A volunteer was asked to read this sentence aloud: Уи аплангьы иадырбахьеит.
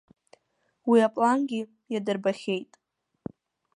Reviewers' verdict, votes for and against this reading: accepted, 2, 0